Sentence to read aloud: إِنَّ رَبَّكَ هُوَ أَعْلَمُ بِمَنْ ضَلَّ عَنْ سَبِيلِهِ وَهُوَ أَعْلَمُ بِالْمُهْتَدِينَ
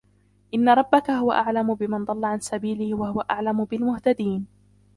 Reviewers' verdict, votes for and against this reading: rejected, 0, 2